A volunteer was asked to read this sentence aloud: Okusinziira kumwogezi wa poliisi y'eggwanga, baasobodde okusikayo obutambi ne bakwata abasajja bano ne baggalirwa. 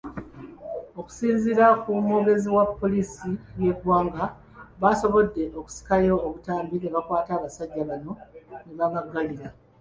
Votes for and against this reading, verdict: 1, 2, rejected